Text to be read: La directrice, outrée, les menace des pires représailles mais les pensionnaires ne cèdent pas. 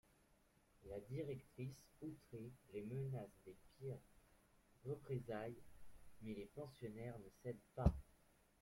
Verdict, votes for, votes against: rejected, 1, 2